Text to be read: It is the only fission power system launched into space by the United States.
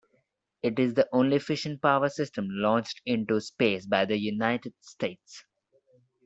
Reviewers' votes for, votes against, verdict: 2, 1, accepted